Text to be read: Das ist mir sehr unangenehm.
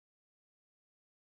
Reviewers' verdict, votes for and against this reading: rejected, 0, 2